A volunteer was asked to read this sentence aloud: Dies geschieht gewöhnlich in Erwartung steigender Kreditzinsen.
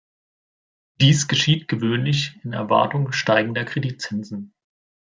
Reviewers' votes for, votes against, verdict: 2, 0, accepted